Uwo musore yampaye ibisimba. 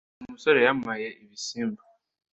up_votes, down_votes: 2, 0